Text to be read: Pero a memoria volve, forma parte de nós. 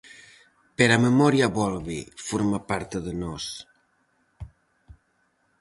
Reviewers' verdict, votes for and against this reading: accepted, 4, 0